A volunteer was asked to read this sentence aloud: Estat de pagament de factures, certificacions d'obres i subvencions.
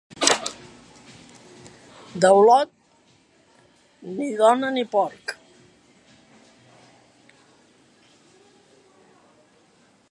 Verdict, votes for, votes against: rejected, 0, 2